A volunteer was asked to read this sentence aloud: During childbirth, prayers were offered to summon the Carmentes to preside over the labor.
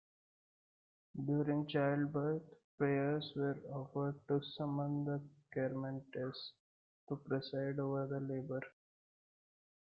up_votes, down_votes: 2, 0